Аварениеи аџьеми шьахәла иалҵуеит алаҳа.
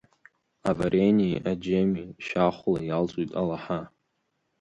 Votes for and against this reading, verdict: 0, 2, rejected